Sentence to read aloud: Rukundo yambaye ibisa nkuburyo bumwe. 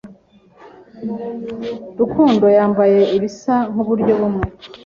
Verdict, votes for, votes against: accepted, 3, 0